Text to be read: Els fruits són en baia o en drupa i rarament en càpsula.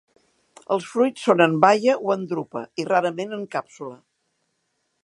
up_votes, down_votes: 1, 2